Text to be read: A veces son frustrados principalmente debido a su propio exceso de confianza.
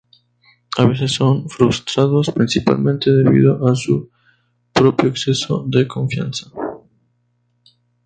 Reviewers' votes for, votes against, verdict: 0, 2, rejected